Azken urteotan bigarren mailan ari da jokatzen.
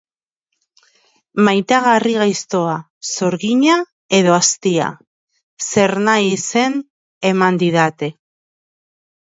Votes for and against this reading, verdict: 0, 2, rejected